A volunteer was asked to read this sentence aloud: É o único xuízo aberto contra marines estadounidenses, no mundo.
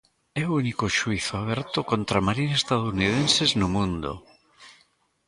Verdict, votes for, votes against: rejected, 0, 2